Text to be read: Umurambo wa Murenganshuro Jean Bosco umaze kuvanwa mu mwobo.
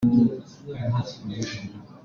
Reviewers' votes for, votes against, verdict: 0, 2, rejected